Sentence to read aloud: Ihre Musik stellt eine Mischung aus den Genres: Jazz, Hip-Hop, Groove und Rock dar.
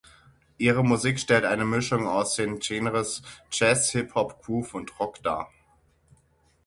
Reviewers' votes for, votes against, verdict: 0, 6, rejected